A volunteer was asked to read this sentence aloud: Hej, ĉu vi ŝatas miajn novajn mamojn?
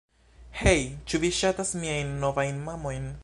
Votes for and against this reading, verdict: 1, 2, rejected